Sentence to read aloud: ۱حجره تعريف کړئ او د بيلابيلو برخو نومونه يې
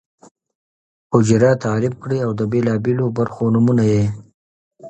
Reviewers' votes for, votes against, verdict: 0, 2, rejected